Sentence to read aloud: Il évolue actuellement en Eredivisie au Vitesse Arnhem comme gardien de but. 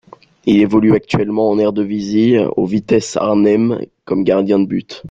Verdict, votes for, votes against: accepted, 3, 2